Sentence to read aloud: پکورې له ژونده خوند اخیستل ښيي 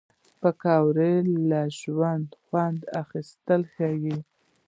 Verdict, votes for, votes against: rejected, 0, 2